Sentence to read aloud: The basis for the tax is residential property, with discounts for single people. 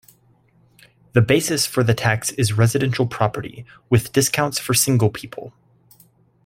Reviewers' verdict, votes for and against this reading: accepted, 2, 0